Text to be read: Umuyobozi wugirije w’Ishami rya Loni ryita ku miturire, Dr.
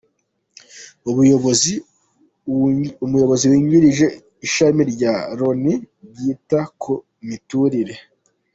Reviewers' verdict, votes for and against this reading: rejected, 0, 2